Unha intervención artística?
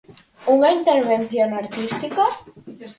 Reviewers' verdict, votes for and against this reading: rejected, 2, 4